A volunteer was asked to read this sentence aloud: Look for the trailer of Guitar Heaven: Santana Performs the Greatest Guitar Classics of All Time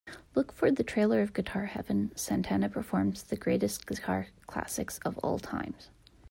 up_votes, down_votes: 0, 2